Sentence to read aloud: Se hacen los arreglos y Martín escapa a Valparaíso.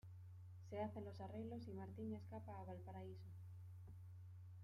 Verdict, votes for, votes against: rejected, 1, 2